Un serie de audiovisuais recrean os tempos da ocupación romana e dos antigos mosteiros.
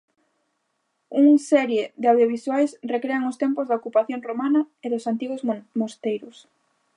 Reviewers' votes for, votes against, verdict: 1, 2, rejected